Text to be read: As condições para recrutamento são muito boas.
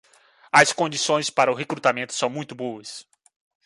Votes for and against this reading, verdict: 2, 3, rejected